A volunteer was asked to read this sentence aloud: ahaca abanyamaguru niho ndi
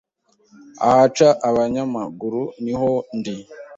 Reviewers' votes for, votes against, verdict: 2, 0, accepted